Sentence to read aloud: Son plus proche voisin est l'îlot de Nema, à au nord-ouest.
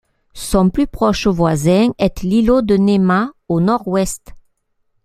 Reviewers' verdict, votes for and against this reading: rejected, 1, 2